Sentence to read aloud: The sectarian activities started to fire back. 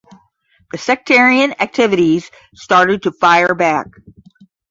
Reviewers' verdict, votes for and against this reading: accepted, 10, 0